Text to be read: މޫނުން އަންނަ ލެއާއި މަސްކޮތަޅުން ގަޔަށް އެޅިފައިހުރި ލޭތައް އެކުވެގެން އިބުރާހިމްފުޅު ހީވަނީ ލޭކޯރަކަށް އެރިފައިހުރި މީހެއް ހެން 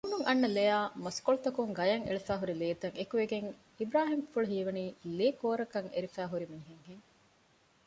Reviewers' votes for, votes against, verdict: 2, 0, accepted